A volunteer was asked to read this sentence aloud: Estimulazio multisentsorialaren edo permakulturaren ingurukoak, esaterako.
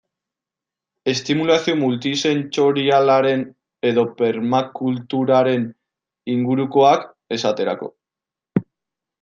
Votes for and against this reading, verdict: 1, 2, rejected